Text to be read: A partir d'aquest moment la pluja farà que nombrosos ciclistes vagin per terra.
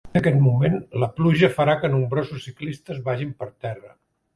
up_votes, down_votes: 0, 2